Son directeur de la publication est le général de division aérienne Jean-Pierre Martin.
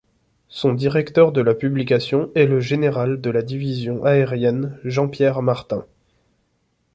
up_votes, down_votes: 1, 2